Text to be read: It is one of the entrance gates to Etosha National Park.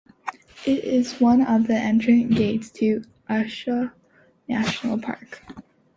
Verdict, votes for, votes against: accepted, 2, 1